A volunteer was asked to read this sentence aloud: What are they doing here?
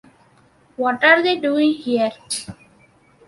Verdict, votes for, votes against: accepted, 2, 0